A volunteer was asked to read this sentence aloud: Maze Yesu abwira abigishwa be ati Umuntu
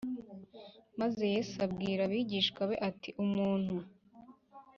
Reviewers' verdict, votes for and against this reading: accepted, 3, 0